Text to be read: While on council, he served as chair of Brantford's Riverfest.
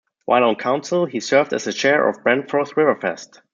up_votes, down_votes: 2, 1